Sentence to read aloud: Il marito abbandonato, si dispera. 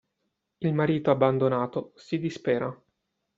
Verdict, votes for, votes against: accepted, 2, 0